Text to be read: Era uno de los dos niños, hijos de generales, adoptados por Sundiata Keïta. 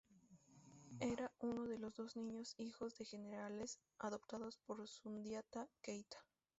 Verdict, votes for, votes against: accepted, 2, 0